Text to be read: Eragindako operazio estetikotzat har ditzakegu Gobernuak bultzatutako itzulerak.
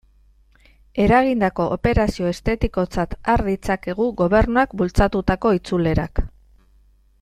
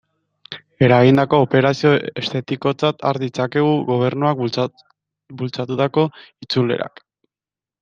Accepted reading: first